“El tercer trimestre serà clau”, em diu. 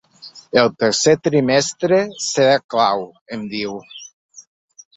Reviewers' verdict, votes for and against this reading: rejected, 1, 2